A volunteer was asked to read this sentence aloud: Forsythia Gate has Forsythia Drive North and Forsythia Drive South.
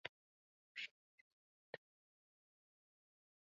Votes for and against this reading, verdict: 0, 2, rejected